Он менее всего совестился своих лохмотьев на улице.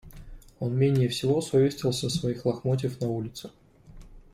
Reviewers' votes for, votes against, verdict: 2, 0, accepted